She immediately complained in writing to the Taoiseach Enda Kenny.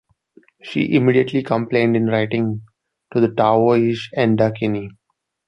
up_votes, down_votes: 1, 2